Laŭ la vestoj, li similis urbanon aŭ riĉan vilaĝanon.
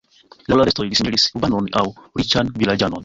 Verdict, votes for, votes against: rejected, 0, 2